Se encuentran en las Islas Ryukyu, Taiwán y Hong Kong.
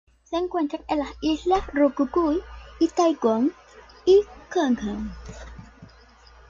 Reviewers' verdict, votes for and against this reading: rejected, 1, 2